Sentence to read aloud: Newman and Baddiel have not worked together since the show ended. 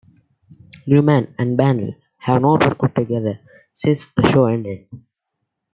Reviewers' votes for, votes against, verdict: 1, 2, rejected